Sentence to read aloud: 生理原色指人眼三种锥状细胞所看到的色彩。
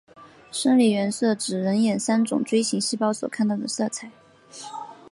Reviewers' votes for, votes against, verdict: 2, 1, accepted